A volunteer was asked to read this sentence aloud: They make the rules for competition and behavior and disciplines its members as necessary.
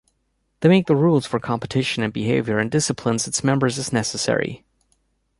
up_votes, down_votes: 2, 0